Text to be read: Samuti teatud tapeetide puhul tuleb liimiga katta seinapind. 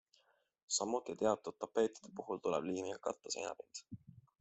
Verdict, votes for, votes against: accepted, 2, 0